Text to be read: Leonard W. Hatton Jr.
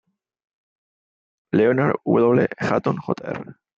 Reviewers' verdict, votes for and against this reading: rejected, 1, 2